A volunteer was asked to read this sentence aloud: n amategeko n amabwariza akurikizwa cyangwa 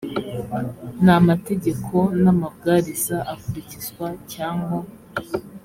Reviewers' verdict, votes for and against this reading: accepted, 2, 0